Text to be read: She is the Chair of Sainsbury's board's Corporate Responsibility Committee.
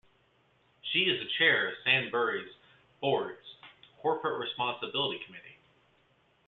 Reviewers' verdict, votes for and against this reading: accepted, 2, 1